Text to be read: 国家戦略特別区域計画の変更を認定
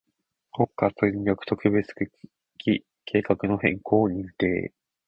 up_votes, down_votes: 2, 0